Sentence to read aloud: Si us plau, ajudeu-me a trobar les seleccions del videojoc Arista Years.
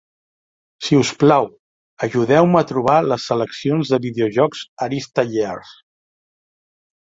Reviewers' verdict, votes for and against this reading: rejected, 2, 3